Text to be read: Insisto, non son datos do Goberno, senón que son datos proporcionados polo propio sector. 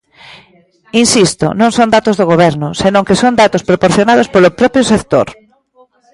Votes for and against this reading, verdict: 1, 2, rejected